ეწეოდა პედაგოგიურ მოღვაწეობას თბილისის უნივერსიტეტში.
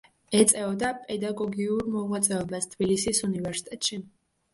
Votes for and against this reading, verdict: 2, 0, accepted